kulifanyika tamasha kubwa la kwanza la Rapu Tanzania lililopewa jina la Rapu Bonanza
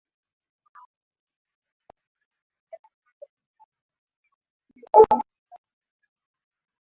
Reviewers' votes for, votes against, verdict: 0, 2, rejected